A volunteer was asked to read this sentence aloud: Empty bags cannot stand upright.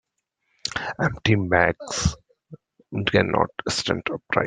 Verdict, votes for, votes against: rejected, 0, 2